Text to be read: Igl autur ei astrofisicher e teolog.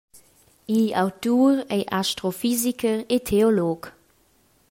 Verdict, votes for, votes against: accepted, 2, 0